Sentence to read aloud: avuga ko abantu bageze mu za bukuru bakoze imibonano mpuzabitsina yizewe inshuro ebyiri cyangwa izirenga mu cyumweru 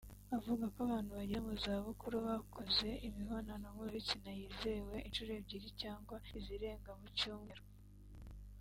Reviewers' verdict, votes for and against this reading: accepted, 2, 1